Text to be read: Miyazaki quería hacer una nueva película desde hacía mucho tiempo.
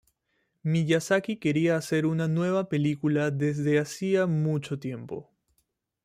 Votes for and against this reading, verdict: 2, 0, accepted